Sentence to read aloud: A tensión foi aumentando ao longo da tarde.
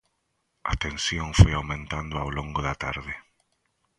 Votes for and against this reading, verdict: 2, 0, accepted